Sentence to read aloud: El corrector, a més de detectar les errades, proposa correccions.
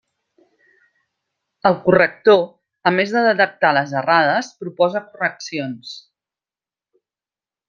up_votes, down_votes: 3, 0